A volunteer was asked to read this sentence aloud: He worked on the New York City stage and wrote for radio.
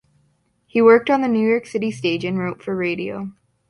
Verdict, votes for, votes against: accepted, 2, 0